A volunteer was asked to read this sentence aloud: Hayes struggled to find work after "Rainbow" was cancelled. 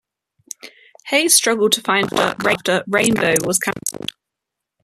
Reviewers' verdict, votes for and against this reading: rejected, 0, 2